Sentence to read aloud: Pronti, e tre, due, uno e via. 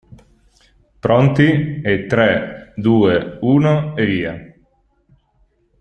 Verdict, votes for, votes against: accepted, 2, 0